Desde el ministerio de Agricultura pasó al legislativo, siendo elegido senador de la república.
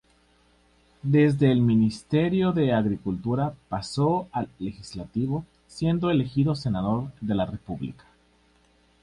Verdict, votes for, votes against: accepted, 4, 2